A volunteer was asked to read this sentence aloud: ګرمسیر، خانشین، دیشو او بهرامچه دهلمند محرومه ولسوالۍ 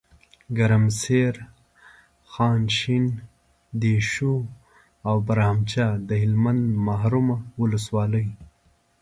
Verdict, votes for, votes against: accepted, 2, 0